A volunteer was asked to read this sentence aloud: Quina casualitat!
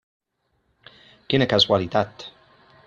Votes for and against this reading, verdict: 3, 1, accepted